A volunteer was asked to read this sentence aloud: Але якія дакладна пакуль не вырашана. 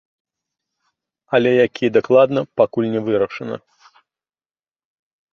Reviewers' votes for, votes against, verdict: 2, 0, accepted